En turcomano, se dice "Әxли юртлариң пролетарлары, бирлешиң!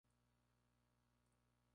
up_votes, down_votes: 0, 2